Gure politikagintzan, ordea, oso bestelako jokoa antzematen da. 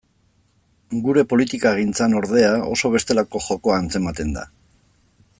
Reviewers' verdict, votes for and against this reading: accepted, 3, 0